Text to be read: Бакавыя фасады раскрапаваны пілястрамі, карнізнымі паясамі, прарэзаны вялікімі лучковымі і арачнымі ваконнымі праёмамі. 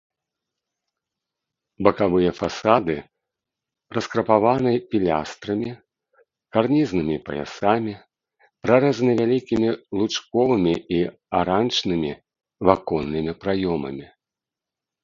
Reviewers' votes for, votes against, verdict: 1, 2, rejected